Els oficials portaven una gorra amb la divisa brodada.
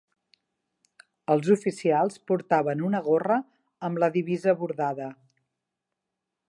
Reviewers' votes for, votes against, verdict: 1, 2, rejected